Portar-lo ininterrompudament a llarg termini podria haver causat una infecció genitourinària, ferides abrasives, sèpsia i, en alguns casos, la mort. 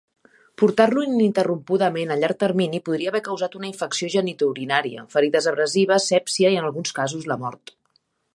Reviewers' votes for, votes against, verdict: 6, 0, accepted